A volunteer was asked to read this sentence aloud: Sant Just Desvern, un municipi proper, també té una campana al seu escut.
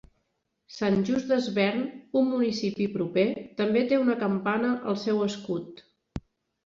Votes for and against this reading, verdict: 3, 0, accepted